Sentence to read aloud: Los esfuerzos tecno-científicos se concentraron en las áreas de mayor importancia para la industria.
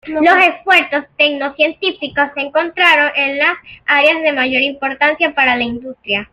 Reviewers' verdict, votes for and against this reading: accepted, 2, 0